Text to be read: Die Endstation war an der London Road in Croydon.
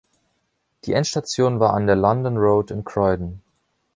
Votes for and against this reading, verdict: 2, 0, accepted